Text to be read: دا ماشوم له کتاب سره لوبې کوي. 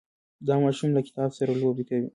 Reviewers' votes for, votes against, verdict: 1, 2, rejected